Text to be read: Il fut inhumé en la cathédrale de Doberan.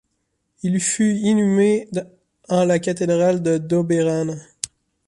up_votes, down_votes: 2, 1